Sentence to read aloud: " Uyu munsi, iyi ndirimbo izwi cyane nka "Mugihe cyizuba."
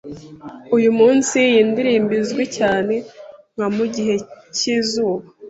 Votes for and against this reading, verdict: 2, 0, accepted